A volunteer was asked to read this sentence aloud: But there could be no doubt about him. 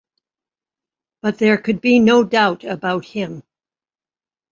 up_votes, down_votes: 2, 0